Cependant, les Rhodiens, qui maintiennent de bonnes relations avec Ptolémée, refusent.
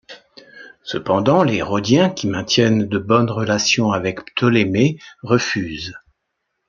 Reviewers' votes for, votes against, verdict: 3, 0, accepted